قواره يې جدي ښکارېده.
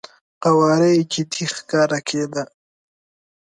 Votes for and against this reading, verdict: 2, 4, rejected